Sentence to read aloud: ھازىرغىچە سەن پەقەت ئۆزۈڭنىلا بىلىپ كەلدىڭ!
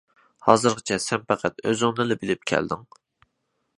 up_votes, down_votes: 2, 0